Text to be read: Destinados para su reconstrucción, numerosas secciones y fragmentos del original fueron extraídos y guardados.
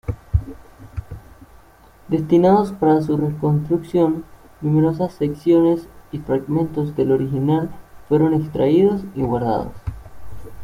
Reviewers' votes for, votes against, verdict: 1, 2, rejected